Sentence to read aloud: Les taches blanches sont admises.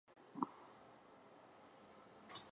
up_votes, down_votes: 0, 2